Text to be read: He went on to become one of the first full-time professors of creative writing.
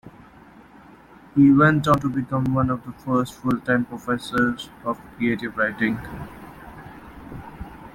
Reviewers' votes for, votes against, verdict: 1, 2, rejected